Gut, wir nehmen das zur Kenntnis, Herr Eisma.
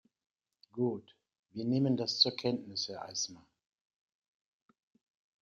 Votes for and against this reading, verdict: 2, 0, accepted